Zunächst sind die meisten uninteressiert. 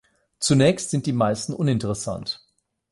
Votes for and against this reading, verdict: 0, 8, rejected